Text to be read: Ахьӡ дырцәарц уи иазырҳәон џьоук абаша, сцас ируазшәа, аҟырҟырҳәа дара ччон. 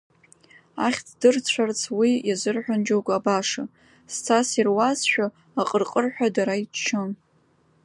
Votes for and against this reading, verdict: 0, 2, rejected